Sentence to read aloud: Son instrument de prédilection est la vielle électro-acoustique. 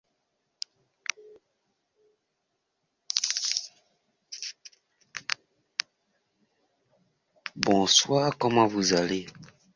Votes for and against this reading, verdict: 0, 2, rejected